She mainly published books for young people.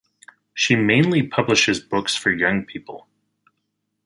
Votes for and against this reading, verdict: 0, 4, rejected